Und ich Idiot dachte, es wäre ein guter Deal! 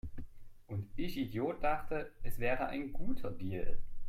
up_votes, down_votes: 2, 1